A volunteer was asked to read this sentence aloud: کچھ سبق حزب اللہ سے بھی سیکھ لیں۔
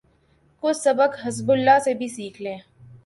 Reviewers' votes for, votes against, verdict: 2, 0, accepted